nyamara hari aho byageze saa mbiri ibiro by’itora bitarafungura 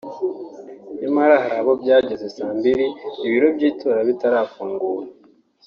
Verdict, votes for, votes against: rejected, 1, 2